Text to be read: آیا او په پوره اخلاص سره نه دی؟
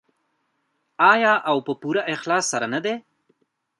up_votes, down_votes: 0, 2